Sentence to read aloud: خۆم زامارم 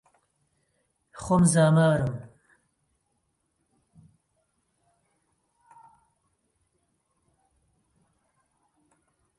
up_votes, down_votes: 2, 0